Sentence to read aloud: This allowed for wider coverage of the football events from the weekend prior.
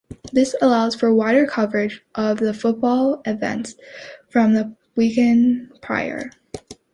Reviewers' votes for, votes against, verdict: 2, 0, accepted